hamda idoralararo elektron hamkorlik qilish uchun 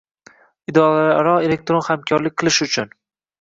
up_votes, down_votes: 1, 2